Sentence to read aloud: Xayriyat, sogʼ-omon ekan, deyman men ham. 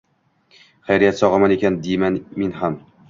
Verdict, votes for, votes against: accepted, 2, 0